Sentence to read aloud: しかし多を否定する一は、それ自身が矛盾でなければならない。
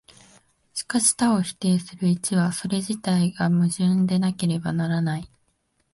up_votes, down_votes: 0, 2